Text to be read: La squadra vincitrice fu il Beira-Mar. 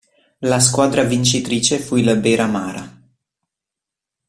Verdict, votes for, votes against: rejected, 1, 2